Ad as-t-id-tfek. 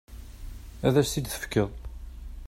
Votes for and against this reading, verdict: 1, 2, rejected